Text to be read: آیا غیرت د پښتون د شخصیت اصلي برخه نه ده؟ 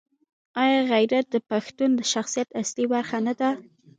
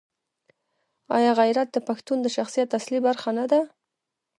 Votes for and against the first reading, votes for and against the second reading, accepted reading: 1, 2, 2, 0, second